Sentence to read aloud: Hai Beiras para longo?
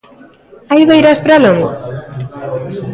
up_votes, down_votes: 1, 2